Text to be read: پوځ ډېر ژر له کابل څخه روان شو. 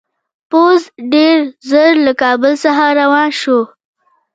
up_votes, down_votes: 3, 0